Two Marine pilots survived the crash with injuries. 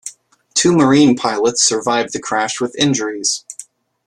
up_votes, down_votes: 2, 0